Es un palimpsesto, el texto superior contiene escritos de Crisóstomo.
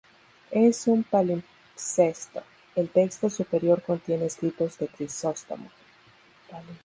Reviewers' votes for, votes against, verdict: 0, 2, rejected